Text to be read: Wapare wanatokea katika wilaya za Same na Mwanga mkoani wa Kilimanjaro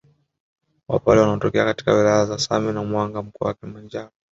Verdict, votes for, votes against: rejected, 1, 2